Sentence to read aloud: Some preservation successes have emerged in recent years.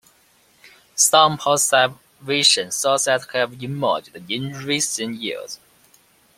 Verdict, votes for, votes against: rejected, 0, 2